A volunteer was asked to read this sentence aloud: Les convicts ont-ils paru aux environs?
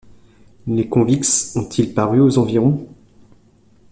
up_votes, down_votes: 1, 2